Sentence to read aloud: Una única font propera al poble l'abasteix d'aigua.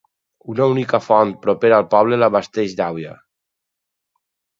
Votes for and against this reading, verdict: 0, 4, rejected